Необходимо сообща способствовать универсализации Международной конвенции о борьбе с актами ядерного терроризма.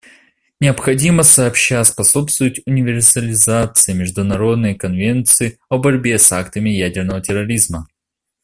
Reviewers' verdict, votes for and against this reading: accepted, 2, 0